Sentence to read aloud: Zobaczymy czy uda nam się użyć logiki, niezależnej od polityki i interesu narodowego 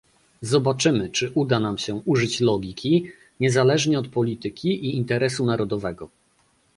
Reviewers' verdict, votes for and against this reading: rejected, 0, 2